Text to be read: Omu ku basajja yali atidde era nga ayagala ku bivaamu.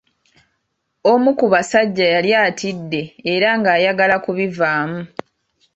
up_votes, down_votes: 2, 0